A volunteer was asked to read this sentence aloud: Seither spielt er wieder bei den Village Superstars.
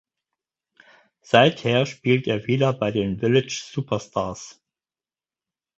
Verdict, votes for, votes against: accepted, 4, 0